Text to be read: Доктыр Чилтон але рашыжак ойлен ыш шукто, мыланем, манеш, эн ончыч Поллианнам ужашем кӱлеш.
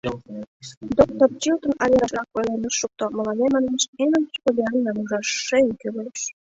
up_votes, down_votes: 1, 4